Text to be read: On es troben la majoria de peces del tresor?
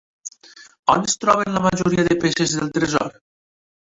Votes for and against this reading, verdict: 1, 2, rejected